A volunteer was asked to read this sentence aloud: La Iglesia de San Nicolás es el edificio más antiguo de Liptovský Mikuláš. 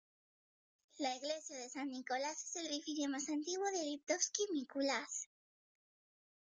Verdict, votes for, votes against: rejected, 1, 2